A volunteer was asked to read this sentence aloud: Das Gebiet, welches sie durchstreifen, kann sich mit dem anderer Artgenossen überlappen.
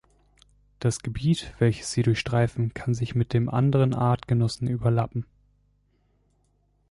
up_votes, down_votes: 0, 2